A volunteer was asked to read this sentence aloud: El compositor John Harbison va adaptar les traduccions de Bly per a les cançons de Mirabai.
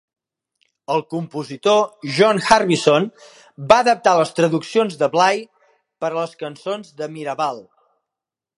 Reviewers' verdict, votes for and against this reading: rejected, 1, 2